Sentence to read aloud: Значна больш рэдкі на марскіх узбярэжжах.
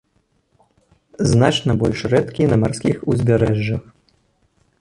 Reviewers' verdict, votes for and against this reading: rejected, 0, 2